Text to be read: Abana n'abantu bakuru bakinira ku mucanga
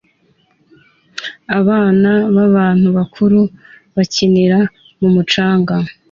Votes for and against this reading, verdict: 2, 0, accepted